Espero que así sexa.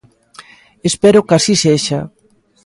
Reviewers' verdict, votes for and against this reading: accepted, 2, 0